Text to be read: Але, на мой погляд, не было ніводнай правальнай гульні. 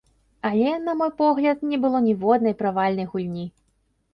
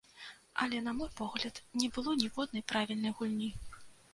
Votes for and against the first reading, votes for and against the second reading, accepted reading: 2, 0, 0, 2, first